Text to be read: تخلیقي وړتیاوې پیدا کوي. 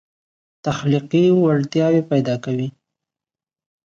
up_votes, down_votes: 2, 0